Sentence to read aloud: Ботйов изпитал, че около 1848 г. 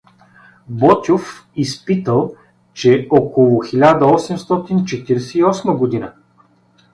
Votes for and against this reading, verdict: 0, 2, rejected